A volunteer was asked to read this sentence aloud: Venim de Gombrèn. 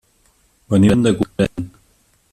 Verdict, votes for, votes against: rejected, 1, 2